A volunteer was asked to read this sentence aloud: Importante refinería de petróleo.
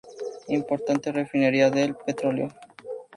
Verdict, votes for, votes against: accepted, 2, 0